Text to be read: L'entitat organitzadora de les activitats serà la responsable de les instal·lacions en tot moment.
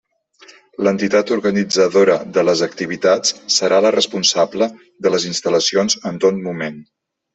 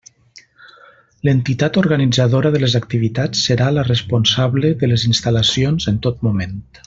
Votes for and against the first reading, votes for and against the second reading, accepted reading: 3, 0, 1, 2, first